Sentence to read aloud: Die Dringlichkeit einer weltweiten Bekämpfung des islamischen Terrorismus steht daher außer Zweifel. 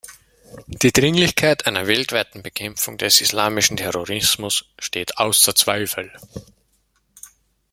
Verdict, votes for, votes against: rejected, 0, 2